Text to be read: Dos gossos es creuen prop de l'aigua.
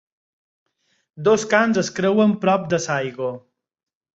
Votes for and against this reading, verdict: 4, 2, accepted